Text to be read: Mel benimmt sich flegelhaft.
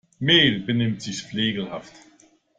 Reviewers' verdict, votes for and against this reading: rejected, 0, 2